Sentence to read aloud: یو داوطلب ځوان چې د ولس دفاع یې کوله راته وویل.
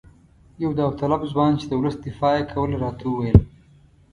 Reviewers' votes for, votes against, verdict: 2, 0, accepted